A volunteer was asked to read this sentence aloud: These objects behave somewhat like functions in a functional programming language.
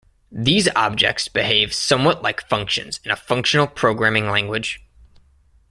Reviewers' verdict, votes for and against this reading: accepted, 2, 0